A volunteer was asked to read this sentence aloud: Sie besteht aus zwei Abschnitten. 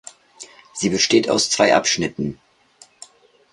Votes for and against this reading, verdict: 2, 0, accepted